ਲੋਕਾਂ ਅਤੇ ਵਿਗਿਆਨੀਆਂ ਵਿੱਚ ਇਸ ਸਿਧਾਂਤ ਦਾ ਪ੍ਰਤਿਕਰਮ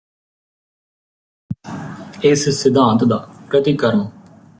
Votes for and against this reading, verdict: 1, 2, rejected